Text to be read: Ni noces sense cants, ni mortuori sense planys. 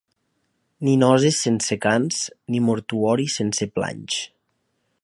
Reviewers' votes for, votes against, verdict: 2, 0, accepted